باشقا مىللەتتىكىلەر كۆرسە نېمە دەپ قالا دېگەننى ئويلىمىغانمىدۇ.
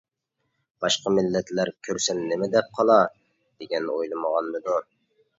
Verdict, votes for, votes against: rejected, 1, 2